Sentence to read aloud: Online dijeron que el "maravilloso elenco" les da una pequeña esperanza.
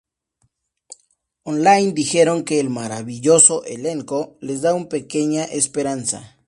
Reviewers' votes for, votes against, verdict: 0, 2, rejected